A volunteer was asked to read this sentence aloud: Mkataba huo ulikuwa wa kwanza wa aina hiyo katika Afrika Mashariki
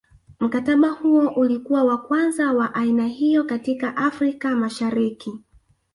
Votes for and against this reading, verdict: 1, 2, rejected